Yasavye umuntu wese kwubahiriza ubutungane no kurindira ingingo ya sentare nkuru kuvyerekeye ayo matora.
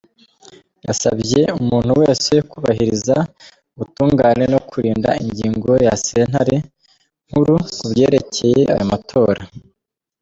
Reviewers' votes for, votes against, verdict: 1, 2, rejected